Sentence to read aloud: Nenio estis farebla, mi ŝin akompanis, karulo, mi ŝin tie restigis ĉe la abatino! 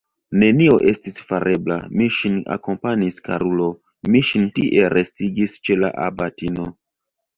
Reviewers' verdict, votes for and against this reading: accepted, 2, 0